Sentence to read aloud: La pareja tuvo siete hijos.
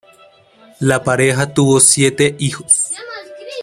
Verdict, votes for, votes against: accepted, 2, 0